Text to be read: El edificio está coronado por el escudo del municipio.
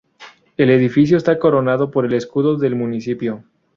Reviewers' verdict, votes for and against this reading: accepted, 2, 0